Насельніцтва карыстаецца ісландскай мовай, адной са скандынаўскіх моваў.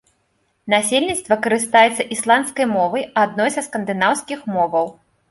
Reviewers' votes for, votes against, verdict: 2, 0, accepted